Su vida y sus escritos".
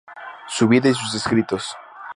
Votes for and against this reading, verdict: 4, 0, accepted